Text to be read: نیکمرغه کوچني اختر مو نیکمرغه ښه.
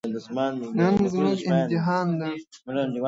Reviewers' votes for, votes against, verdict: 1, 2, rejected